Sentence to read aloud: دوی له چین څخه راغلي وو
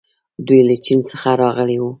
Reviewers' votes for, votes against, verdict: 1, 2, rejected